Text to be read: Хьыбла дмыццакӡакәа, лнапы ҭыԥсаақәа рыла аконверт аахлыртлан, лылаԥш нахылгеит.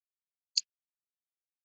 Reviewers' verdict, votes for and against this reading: rejected, 1, 2